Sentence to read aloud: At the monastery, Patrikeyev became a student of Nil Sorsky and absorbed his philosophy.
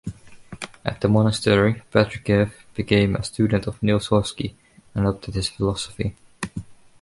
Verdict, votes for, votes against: rejected, 1, 2